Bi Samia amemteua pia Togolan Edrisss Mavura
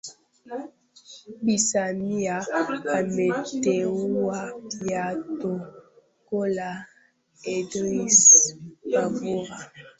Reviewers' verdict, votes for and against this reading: rejected, 0, 2